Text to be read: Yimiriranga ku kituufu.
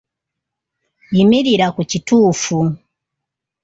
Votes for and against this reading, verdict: 0, 2, rejected